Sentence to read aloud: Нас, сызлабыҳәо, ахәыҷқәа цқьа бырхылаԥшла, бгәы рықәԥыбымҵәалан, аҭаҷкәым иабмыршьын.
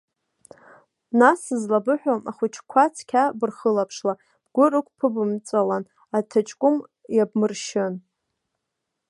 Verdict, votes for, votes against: accepted, 2, 0